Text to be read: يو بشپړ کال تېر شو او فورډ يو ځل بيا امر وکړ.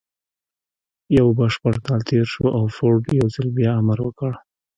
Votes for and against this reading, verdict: 0, 2, rejected